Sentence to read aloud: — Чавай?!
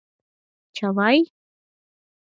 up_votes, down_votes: 6, 0